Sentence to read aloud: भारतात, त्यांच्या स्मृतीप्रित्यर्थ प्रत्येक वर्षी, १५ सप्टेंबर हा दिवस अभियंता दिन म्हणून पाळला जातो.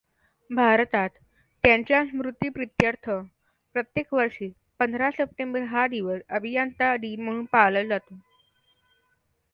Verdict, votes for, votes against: rejected, 0, 2